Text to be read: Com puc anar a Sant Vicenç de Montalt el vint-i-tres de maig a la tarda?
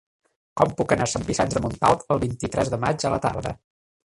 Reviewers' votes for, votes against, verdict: 3, 4, rejected